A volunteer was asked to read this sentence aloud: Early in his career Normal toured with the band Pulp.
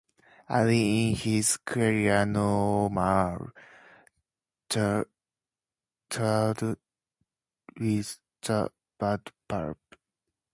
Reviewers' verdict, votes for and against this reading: rejected, 0, 2